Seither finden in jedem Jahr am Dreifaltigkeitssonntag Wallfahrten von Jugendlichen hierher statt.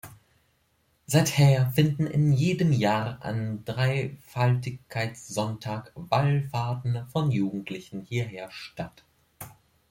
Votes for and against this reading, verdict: 1, 2, rejected